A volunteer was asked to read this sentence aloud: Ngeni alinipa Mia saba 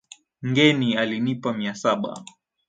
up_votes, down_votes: 4, 3